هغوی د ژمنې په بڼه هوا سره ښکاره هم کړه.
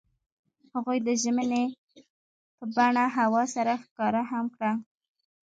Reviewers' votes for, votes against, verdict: 2, 1, accepted